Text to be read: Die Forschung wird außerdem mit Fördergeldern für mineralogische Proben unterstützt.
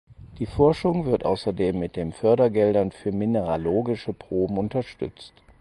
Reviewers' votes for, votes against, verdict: 0, 4, rejected